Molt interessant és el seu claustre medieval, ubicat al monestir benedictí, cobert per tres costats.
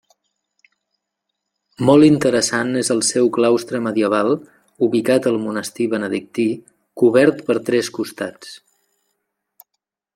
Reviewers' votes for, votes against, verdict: 3, 0, accepted